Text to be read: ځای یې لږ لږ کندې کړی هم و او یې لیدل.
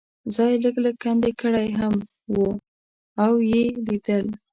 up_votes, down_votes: 1, 2